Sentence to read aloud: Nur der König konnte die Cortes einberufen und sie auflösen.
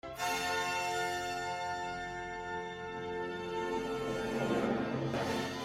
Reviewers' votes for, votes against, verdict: 0, 2, rejected